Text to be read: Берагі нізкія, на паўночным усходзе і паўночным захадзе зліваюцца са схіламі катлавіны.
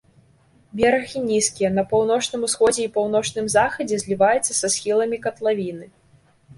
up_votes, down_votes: 1, 2